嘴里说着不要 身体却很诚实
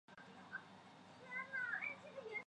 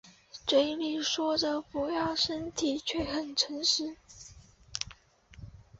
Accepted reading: second